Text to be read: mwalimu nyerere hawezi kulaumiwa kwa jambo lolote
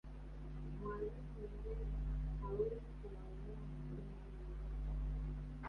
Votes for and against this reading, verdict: 0, 2, rejected